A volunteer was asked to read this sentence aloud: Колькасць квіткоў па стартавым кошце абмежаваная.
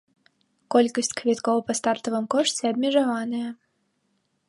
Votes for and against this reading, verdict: 1, 2, rejected